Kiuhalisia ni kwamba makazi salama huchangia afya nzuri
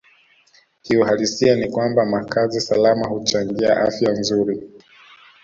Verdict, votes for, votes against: accepted, 2, 0